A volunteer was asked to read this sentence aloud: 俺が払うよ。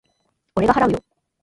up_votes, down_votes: 2, 0